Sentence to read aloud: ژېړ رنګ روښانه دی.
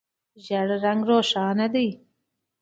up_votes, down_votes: 2, 0